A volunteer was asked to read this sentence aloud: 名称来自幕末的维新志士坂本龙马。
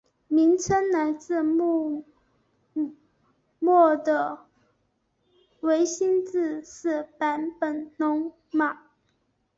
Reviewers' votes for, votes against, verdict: 0, 2, rejected